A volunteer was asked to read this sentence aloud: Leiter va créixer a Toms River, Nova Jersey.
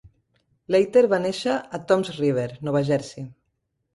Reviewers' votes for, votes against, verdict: 1, 2, rejected